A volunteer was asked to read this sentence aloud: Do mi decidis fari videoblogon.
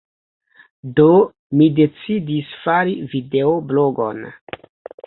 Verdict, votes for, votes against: rejected, 1, 2